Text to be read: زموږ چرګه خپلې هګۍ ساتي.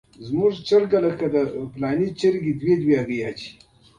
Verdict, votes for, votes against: accepted, 2, 1